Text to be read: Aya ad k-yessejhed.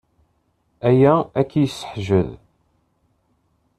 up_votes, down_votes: 0, 2